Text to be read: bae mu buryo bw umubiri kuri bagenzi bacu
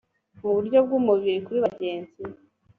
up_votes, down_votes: 1, 2